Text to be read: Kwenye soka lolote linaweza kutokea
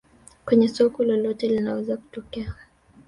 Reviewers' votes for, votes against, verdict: 2, 0, accepted